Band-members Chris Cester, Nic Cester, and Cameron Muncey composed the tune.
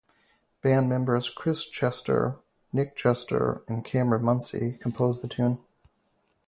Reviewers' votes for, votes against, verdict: 4, 0, accepted